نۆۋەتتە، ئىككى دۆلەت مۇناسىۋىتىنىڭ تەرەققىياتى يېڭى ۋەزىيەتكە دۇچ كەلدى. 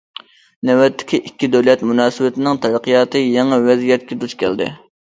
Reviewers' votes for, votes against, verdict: 1, 2, rejected